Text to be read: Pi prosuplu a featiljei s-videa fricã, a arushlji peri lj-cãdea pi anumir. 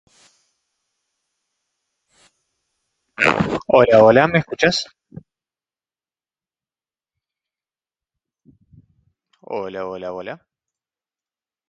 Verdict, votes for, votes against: rejected, 1, 2